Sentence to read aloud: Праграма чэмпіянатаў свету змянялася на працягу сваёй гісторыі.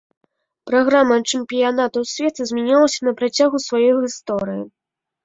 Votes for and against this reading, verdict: 0, 2, rejected